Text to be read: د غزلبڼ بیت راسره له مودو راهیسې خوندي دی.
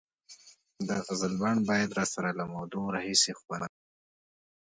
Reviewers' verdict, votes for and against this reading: accepted, 2, 0